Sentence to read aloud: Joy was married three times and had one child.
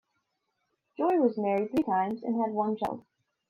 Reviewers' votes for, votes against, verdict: 1, 2, rejected